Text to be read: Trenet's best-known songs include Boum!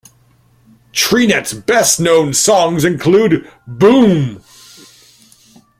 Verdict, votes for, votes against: rejected, 1, 2